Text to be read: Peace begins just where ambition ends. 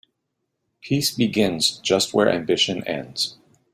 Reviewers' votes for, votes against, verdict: 2, 0, accepted